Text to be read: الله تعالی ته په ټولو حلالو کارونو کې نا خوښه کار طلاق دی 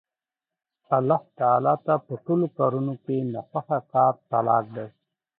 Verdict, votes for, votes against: rejected, 1, 2